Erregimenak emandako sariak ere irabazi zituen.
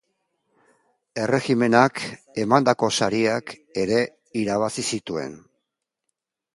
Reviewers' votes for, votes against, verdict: 3, 0, accepted